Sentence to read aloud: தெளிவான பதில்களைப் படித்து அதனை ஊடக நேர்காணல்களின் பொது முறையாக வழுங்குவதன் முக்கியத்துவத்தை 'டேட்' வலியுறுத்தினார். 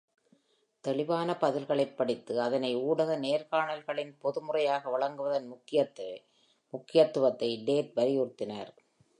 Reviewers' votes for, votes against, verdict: 0, 2, rejected